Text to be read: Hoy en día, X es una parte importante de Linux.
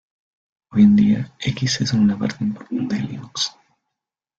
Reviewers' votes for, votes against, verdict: 1, 2, rejected